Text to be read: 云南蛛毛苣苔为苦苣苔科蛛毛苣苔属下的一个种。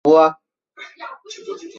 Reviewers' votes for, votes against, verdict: 0, 2, rejected